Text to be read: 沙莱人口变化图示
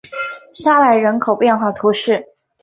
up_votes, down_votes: 4, 0